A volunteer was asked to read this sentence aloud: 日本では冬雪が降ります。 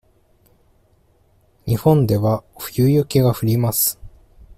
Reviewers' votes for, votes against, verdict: 2, 1, accepted